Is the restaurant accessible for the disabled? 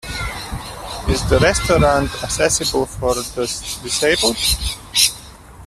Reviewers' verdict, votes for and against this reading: rejected, 1, 2